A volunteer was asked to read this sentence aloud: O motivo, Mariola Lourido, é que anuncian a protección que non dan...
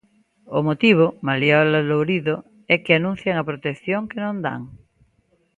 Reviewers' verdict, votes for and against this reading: accepted, 2, 0